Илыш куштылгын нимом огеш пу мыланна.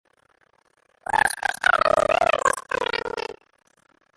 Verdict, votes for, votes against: rejected, 0, 2